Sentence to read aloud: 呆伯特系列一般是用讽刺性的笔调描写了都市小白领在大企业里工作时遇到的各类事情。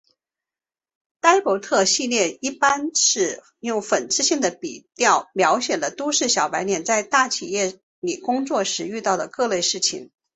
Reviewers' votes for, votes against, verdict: 4, 0, accepted